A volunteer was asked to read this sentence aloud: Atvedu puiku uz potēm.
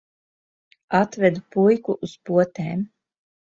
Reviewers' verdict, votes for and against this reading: accepted, 3, 0